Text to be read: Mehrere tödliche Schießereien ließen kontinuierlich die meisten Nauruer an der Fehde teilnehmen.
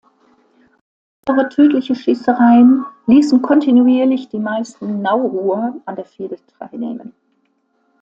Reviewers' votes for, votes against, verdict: 1, 2, rejected